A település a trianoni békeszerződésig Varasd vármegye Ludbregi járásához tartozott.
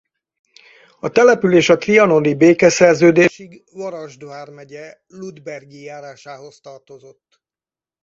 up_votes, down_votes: 0, 4